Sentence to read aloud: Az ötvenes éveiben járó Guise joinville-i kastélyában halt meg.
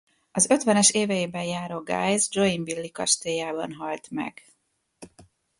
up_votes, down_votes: 2, 0